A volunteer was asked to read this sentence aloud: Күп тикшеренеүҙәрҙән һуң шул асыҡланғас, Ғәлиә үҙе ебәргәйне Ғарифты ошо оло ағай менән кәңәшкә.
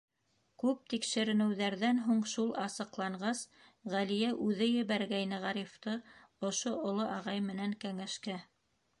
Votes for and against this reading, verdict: 2, 0, accepted